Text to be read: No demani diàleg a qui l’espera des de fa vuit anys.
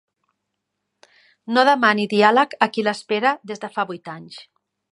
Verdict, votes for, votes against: accepted, 4, 0